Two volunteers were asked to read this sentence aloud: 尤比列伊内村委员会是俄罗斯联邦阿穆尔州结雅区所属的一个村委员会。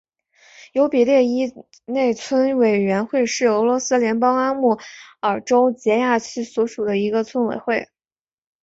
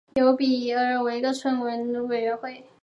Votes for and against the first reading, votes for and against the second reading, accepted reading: 1, 2, 4, 1, second